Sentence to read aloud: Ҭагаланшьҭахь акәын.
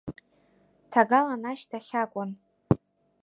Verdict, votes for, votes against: rejected, 0, 2